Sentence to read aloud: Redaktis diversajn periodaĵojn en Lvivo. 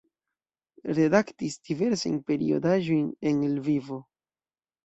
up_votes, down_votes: 2, 0